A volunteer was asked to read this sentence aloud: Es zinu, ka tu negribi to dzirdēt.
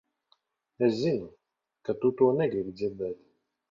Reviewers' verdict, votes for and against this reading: rejected, 1, 2